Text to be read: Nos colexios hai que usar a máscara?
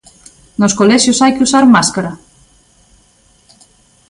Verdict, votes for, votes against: rejected, 0, 2